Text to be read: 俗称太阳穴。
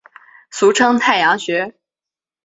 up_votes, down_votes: 4, 0